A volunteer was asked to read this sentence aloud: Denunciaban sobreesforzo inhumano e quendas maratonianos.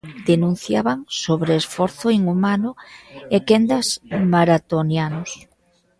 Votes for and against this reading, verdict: 2, 1, accepted